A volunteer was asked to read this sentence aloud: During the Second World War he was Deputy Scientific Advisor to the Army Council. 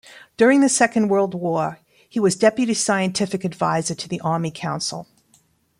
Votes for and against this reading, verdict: 2, 0, accepted